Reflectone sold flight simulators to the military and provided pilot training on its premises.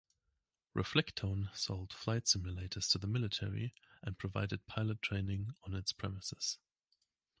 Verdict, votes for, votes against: accepted, 2, 0